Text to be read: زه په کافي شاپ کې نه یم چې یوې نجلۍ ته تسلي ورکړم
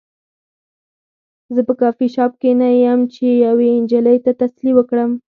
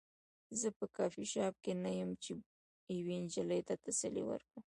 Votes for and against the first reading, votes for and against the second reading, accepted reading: 2, 4, 2, 0, second